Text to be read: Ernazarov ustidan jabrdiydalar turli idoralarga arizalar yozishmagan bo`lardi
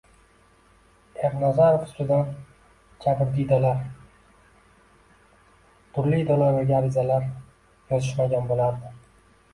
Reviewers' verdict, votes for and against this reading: rejected, 0, 2